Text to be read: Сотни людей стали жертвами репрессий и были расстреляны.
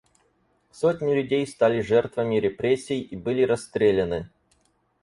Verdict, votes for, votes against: accepted, 4, 0